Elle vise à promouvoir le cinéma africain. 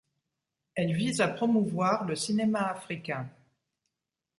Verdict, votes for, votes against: accepted, 2, 0